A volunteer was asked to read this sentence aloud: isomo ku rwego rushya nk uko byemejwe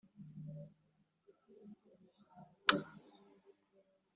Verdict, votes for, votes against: rejected, 0, 2